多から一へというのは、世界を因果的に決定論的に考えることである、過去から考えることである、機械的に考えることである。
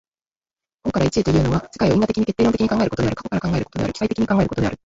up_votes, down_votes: 1, 2